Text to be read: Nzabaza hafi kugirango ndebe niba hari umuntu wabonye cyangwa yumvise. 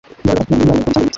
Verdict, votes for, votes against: rejected, 1, 2